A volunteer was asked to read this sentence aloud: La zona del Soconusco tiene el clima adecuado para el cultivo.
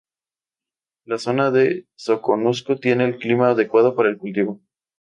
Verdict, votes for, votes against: accepted, 2, 0